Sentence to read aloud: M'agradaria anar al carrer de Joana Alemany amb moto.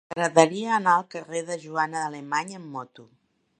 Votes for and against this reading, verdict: 2, 1, accepted